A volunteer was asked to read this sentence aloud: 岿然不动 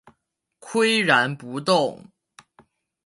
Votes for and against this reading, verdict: 4, 0, accepted